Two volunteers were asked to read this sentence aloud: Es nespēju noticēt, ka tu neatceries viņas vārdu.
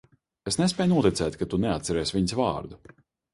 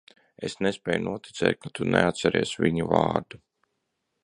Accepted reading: first